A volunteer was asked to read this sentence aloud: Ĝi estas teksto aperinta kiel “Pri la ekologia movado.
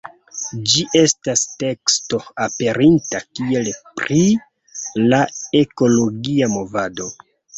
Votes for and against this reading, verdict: 2, 0, accepted